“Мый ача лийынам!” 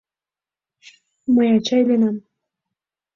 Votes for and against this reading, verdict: 2, 1, accepted